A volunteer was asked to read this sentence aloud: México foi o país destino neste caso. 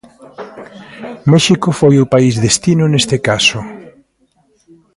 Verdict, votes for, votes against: rejected, 1, 2